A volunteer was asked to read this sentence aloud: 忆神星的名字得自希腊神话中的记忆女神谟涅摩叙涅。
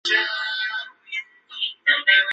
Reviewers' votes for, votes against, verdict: 0, 3, rejected